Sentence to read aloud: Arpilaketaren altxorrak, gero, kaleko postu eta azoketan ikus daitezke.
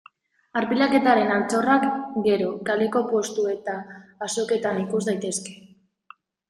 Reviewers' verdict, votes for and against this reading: accepted, 2, 0